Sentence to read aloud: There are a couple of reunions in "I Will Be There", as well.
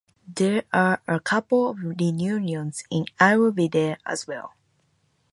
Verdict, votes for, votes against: rejected, 2, 2